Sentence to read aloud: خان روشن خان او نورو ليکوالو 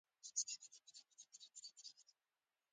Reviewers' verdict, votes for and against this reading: rejected, 0, 2